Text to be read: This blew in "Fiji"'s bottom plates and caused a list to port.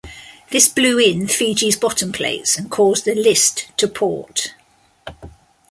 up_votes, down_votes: 2, 1